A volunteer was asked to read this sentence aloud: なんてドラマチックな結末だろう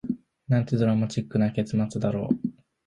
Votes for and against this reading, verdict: 2, 0, accepted